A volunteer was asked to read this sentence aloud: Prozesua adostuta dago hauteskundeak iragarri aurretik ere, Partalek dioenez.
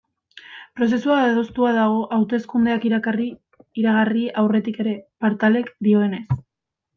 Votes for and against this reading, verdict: 0, 2, rejected